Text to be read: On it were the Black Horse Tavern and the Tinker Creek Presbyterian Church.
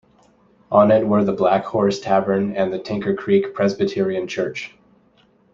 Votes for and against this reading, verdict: 2, 0, accepted